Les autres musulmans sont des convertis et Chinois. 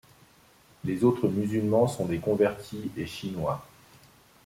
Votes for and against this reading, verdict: 2, 0, accepted